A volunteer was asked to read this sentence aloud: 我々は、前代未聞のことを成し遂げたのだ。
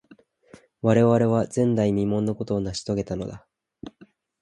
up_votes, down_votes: 3, 0